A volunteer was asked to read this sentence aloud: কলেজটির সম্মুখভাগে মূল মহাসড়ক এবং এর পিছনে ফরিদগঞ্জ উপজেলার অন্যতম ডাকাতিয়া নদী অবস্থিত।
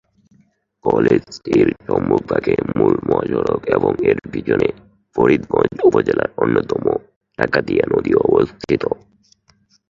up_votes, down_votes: 5, 3